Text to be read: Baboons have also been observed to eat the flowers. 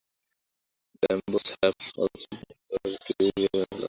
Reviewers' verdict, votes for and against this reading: rejected, 0, 2